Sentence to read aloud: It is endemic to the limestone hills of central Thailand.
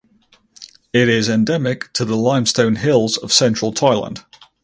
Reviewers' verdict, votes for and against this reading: accepted, 4, 0